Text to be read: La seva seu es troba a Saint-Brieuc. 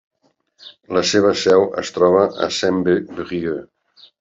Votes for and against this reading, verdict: 1, 2, rejected